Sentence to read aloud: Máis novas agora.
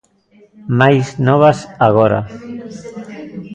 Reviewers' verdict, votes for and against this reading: rejected, 1, 2